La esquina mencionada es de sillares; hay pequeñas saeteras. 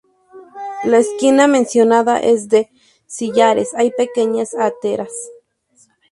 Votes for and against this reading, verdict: 0, 2, rejected